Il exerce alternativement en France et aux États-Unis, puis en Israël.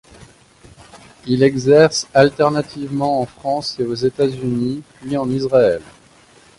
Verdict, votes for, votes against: rejected, 0, 2